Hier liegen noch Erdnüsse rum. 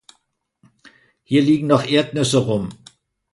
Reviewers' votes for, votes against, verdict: 2, 1, accepted